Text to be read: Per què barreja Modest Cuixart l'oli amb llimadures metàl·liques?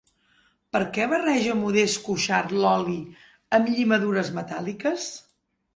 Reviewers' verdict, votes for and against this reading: accepted, 2, 0